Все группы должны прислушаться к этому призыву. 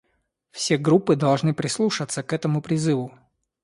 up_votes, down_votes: 2, 0